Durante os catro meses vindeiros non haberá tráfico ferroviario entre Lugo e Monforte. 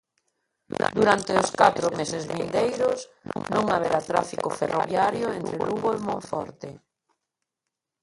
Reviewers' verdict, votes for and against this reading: rejected, 1, 2